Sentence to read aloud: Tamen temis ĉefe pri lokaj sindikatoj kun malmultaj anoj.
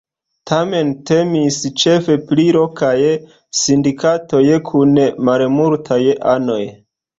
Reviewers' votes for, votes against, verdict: 1, 2, rejected